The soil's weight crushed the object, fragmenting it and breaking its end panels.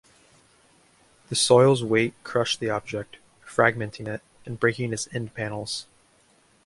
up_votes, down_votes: 2, 0